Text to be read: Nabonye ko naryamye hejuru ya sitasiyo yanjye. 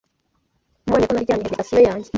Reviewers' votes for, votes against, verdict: 1, 2, rejected